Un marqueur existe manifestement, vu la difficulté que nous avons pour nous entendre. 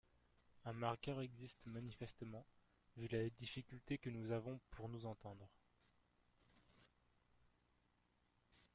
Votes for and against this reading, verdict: 1, 2, rejected